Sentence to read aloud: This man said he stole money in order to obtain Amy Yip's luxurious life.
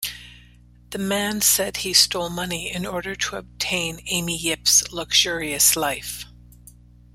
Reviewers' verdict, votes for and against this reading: rejected, 0, 3